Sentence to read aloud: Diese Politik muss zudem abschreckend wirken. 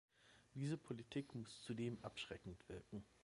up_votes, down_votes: 2, 0